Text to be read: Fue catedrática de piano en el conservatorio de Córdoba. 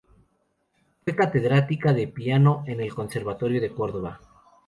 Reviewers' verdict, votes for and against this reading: rejected, 0, 2